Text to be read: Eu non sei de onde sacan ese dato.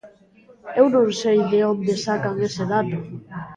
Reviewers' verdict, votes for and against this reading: rejected, 1, 2